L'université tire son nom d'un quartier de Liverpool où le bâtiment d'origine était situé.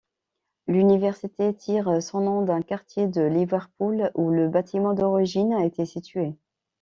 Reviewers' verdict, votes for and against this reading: accepted, 2, 1